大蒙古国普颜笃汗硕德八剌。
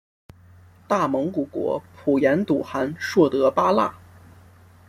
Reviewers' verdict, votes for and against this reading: accepted, 2, 0